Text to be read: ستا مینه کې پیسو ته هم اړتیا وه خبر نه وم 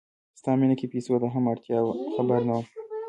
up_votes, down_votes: 1, 2